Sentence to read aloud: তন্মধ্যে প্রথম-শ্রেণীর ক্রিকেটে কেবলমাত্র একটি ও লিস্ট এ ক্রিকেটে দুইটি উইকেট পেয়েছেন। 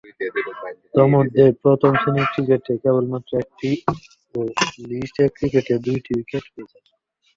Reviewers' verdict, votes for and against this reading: rejected, 1, 2